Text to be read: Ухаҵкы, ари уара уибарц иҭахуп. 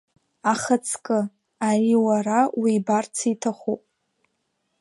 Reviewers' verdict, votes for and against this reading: rejected, 1, 6